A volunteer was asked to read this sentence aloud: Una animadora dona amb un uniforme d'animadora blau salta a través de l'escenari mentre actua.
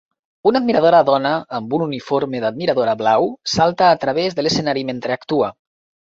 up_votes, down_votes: 1, 2